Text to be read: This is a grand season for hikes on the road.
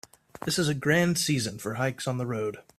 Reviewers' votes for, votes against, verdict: 4, 0, accepted